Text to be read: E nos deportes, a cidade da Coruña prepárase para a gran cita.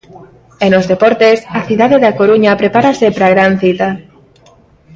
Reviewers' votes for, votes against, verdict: 2, 0, accepted